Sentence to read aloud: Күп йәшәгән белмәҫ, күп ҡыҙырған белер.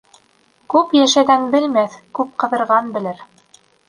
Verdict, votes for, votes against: rejected, 1, 2